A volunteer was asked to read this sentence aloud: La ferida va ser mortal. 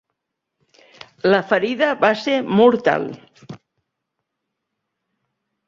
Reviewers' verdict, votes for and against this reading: accepted, 4, 0